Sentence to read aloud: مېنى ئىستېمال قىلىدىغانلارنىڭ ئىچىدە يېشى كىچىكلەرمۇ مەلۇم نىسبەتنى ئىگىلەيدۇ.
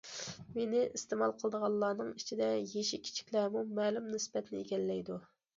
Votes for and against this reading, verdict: 2, 1, accepted